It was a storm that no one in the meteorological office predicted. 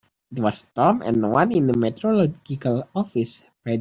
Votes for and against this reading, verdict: 0, 3, rejected